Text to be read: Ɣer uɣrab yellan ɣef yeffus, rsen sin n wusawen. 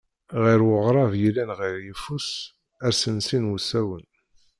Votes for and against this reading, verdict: 0, 2, rejected